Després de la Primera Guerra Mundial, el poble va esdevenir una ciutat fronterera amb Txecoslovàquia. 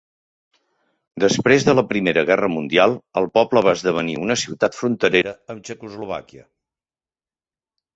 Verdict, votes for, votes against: accepted, 3, 0